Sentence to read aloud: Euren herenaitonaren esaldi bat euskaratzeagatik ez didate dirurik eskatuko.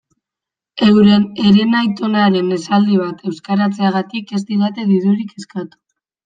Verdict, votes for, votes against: rejected, 0, 2